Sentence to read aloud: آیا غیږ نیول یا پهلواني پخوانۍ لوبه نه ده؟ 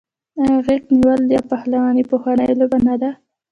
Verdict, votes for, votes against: accepted, 2, 1